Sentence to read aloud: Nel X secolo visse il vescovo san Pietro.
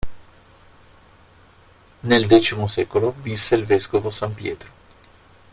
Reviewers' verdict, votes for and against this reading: accepted, 2, 0